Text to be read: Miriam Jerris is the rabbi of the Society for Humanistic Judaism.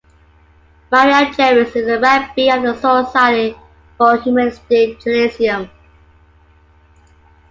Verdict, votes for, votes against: accepted, 2, 0